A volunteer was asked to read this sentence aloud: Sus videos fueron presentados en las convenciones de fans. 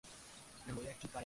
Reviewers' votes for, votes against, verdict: 0, 2, rejected